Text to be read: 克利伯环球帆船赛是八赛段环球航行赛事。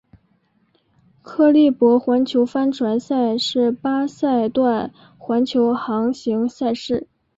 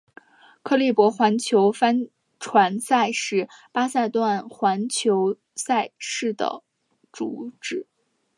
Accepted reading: first